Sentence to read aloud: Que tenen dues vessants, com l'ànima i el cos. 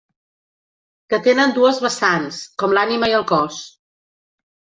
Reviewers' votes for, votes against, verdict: 4, 0, accepted